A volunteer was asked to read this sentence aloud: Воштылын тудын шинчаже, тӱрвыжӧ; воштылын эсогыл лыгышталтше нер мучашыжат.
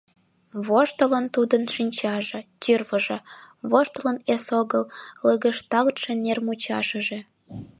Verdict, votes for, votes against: rejected, 1, 2